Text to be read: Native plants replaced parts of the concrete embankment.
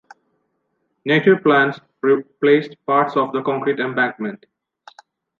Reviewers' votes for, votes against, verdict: 2, 1, accepted